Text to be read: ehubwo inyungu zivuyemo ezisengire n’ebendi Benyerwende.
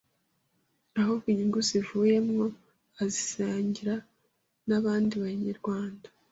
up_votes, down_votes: 1, 2